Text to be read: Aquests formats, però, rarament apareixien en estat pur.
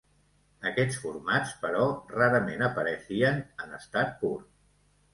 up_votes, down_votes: 0, 2